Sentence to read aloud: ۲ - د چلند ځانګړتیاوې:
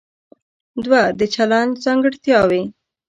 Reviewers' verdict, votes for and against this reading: rejected, 0, 2